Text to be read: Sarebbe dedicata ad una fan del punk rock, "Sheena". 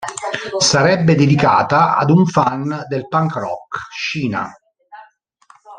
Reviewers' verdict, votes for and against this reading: rejected, 1, 2